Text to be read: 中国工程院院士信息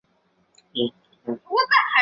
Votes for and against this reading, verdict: 0, 2, rejected